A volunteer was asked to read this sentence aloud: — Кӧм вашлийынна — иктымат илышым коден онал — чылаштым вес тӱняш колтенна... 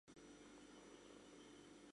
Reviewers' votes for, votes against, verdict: 0, 2, rejected